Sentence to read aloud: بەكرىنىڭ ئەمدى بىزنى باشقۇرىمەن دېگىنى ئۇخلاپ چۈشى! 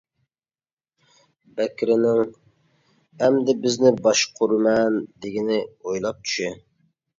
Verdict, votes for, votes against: rejected, 0, 2